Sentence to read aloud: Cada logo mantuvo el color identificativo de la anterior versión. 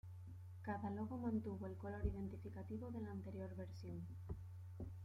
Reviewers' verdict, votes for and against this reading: rejected, 1, 2